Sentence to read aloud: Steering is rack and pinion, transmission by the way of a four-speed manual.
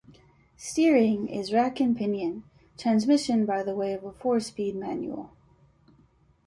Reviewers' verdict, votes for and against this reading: accepted, 2, 0